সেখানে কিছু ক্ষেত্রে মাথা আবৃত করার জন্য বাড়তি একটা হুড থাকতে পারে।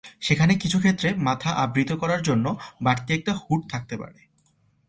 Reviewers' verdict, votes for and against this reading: accepted, 2, 0